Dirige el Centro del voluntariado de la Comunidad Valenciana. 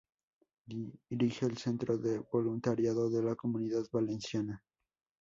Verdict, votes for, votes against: rejected, 0, 2